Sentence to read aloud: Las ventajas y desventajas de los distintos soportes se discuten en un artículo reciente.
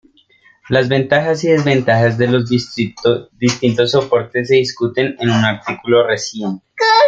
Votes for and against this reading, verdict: 0, 2, rejected